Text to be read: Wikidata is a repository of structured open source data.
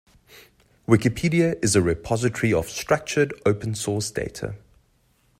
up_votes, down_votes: 1, 2